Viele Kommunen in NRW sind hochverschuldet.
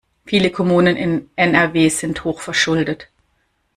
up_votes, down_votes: 2, 0